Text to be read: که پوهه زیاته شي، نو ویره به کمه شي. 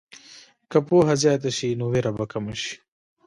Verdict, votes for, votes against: rejected, 1, 2